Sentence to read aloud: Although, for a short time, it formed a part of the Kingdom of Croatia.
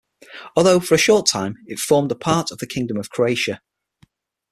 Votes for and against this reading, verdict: 6, 0, accepted